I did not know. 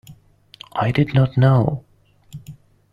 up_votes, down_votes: 2, 0